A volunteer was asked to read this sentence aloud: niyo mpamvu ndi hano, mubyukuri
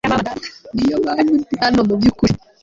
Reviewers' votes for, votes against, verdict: 2, 1, accepted